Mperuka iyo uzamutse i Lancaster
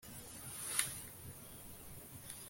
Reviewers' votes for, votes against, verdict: 1, 2, rejected